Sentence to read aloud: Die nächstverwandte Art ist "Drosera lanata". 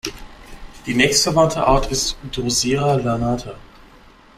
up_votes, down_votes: 1, 2